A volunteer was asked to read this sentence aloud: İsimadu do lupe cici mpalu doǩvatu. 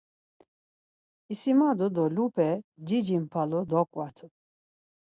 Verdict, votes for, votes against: accepted, 4, 0